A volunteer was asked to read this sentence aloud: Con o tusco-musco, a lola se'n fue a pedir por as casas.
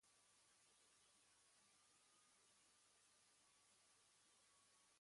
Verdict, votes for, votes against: rejected, 1, 2